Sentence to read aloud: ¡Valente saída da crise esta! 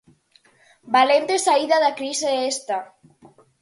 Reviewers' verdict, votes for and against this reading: accepted, 4, 0